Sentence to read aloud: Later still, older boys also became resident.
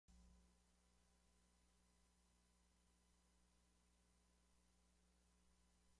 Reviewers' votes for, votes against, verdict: 0, 2, rejected